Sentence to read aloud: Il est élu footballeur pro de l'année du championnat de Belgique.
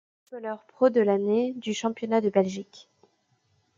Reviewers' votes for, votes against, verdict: 0, 2, rejected